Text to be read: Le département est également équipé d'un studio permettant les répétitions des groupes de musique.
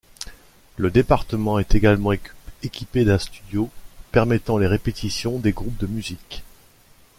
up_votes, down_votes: 1, 2